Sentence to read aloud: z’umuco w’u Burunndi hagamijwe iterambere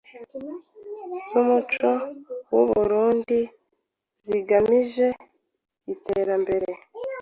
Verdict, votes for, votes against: rejected, 1, 2